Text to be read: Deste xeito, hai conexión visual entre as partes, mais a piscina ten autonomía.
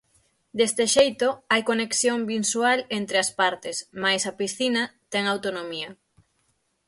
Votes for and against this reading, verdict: 3, 6, rejected